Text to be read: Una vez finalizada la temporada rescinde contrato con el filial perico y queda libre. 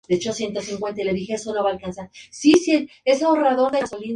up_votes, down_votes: 2, 0